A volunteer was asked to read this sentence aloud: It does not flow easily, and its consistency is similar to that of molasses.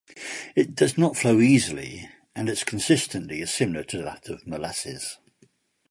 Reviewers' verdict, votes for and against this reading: accepted, 2, 0